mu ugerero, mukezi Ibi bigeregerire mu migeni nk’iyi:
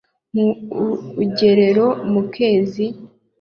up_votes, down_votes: 2, 0